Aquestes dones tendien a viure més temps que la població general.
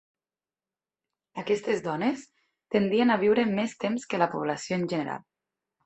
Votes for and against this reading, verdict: 1, 2, rejected